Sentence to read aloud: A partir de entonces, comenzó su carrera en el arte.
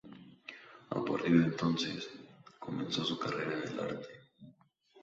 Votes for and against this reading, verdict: 0, 2, rejected